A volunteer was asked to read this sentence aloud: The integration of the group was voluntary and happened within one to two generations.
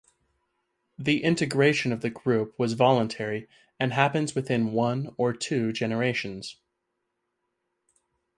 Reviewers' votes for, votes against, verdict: 2, 2, rejected